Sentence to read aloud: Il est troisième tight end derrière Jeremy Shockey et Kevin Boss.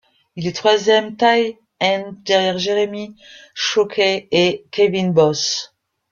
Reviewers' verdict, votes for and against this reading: rejected, 1, 2